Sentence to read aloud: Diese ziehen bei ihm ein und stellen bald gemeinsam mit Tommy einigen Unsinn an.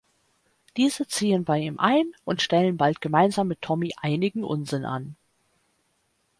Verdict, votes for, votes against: accepted, 2, 0